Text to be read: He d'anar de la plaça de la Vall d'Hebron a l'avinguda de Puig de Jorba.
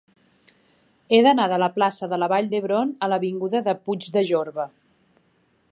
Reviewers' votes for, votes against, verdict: 4, 0, accepted